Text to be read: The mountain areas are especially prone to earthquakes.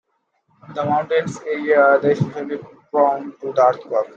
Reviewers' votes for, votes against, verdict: 0, 2, rejected